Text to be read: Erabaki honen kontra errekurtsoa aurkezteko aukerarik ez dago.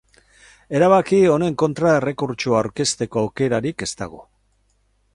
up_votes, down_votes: 4, 0